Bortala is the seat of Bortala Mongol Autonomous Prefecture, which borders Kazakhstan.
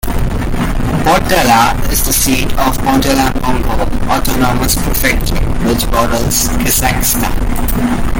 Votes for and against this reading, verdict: 2, 1, accepted